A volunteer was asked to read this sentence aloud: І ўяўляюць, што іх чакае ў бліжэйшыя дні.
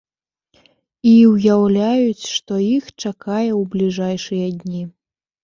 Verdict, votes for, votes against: rejected, 1, 2